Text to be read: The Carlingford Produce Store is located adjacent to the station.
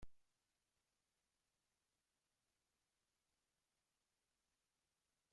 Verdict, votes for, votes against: rejected, 0, 2